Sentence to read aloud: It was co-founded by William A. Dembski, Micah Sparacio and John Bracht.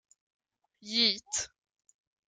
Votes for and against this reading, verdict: 0, 2, rejected